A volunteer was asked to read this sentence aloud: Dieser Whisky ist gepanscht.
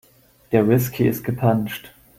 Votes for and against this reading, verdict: 0, 2, rejected